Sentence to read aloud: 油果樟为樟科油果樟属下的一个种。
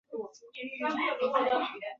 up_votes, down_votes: 0, 2